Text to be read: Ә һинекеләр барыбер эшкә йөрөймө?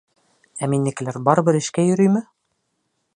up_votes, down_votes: 0, 2